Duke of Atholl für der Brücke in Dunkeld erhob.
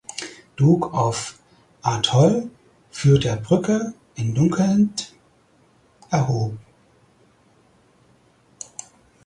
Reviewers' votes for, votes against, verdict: 2, 4, rejected